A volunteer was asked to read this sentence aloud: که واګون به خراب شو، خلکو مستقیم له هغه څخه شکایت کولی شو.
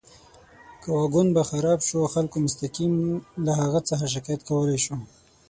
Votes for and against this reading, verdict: 6, 9, rejected